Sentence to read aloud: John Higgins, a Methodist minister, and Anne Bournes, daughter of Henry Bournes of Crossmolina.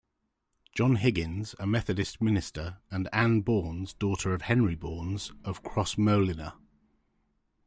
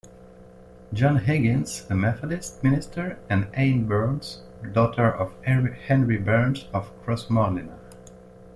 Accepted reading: first